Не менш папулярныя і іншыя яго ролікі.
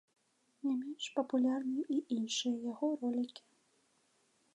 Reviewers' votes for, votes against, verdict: 2, 0, accepted